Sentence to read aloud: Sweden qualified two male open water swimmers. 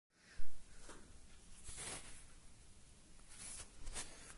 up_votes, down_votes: 0, 2